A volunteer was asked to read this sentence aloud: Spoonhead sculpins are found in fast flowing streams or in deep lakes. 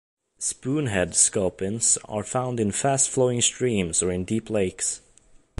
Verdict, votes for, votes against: accepted, 2, 0